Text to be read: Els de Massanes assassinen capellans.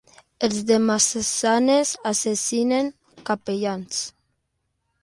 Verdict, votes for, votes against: rejected, 0, 2